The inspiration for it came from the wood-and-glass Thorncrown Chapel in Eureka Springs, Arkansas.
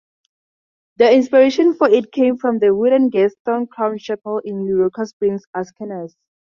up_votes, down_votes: 0, 2